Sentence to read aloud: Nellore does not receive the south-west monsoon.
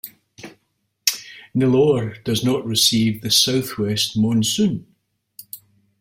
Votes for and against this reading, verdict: 2, 0, accepted